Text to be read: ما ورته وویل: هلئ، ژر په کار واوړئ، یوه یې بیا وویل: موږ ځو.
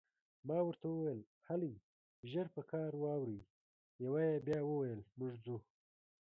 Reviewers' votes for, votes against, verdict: 1, 2, rejected